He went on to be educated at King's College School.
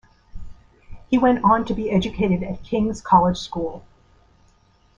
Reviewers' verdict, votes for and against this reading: accepted, 2, 0